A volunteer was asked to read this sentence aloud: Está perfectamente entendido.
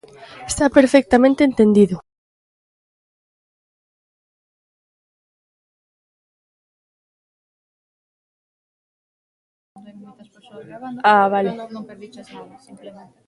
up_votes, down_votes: 0, 2